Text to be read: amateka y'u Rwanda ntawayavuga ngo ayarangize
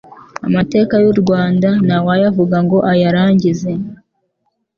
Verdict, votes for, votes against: accepted, 2, 0